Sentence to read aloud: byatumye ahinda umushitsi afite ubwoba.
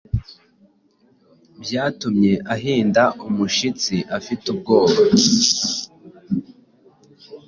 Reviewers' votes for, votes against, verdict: 2, 0, accepted